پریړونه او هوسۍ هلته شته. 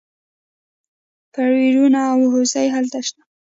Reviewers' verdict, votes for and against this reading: rejected, 0, 2